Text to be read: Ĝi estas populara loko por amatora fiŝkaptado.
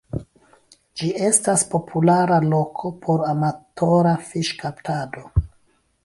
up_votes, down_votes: 1, 2